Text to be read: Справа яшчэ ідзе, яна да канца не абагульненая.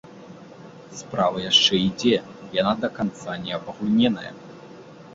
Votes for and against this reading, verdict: 1, 2, rejected